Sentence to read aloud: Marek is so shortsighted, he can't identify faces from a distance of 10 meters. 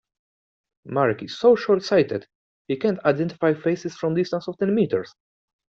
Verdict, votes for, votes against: rejected, 0, 2